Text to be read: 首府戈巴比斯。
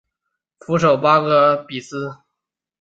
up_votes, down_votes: 3, 0